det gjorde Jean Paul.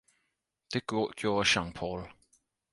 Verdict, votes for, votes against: rejected, 0, 4